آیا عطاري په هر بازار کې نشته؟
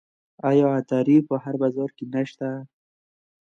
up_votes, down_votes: 2, 0